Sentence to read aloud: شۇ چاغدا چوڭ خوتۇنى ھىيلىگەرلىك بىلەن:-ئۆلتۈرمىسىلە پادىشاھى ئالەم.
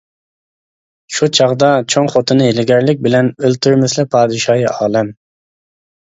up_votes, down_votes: 2, 0